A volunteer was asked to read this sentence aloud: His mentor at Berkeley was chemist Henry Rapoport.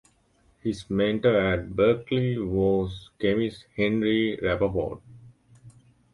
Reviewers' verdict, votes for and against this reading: rejected, 0, 2